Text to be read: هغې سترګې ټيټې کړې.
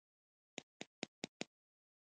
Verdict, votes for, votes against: accepted, 2, 0